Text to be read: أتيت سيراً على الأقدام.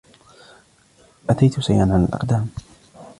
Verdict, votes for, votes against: rejected, 0, 2